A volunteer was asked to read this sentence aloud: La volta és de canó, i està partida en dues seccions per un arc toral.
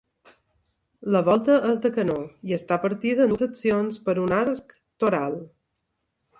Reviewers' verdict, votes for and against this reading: rejected, 0, 2